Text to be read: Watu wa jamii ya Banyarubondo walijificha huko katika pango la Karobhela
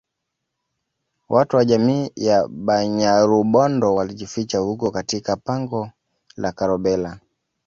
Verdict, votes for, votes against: accepted, 2, 0